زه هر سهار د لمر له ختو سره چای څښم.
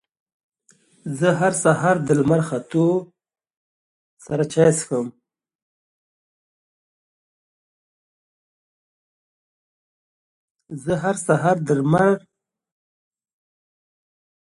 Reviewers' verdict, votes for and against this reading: rejected, 0, 2